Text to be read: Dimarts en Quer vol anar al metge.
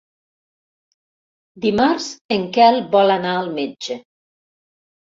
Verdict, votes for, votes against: rejected, 0, 2